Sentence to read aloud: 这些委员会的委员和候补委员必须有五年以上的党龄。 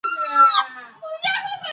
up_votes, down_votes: 0, 3